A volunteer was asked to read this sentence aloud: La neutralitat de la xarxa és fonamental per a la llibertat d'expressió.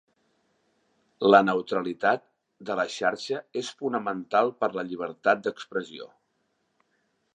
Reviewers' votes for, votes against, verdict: 2, 0, accepted